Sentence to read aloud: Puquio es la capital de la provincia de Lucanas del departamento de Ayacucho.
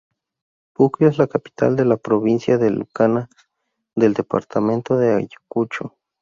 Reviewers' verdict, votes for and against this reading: rejected, 0, 2